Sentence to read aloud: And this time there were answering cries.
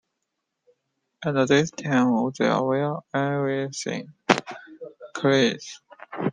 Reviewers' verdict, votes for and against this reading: rejected, 0, 2